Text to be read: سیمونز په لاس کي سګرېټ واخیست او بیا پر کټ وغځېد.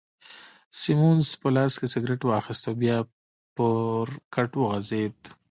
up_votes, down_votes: 1, 2